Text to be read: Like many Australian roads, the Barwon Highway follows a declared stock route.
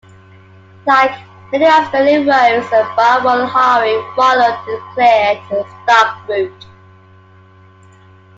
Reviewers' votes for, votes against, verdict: 0, 3, rejected